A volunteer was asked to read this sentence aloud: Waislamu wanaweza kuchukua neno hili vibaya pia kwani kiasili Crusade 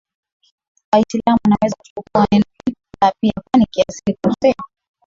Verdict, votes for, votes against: rejected, 0, 2